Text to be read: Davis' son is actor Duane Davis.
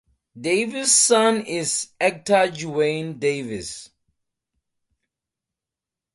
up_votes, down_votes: 4, 2